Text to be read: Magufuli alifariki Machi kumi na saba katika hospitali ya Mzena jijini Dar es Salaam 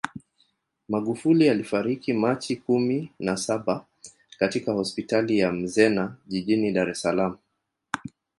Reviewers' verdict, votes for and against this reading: rejected, 1, 2